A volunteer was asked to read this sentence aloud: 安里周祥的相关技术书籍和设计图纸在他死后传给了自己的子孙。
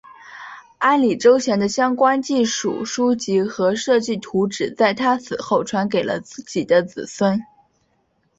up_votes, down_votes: 3, 0